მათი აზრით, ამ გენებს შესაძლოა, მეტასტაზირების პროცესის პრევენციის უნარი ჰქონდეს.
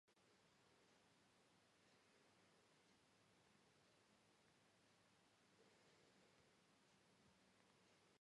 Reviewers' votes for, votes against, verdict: 0, 2, rejected